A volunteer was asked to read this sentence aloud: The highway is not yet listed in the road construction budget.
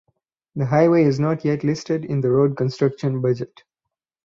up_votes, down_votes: 4, 0